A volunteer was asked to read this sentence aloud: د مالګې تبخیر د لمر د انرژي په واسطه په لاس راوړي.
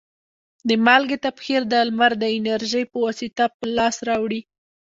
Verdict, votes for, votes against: rejected, 1, 2